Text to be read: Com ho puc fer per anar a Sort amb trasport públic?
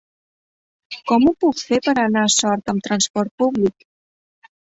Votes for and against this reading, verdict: 2, 0, accepted